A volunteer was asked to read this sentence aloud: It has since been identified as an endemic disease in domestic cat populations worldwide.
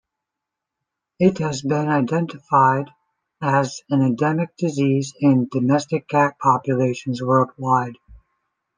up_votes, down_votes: 0, 2